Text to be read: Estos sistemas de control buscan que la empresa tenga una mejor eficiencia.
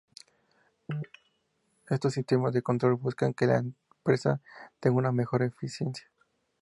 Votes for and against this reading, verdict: 2, 0, accepted